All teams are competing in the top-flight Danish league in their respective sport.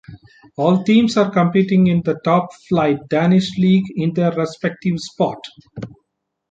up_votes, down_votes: 2, 0